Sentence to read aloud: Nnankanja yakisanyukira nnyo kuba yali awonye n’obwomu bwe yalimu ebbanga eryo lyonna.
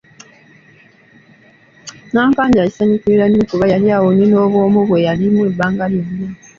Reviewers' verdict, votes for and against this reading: accepted, 2, 0